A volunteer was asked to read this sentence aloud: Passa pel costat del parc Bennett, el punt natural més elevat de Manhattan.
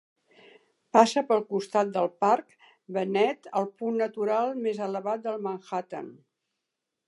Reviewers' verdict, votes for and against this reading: rejected, 0, 2